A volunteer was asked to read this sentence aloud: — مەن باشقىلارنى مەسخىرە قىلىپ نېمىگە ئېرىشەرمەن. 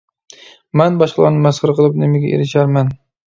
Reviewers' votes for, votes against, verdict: 2, 0, accepted